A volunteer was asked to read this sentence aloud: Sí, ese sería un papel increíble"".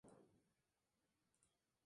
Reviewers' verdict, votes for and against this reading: rejected, 0, 2